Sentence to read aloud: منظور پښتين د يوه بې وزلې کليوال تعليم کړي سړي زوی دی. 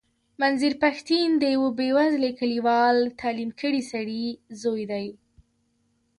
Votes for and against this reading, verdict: 2, 1, accepted